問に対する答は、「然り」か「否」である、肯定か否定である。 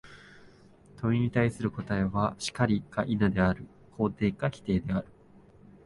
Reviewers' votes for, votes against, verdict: 4, 0, accepted